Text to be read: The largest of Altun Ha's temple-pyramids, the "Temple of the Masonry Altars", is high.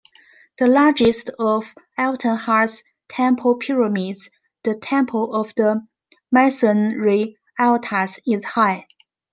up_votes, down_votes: 1, 2